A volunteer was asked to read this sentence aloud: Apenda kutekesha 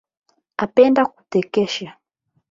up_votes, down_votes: 4, 8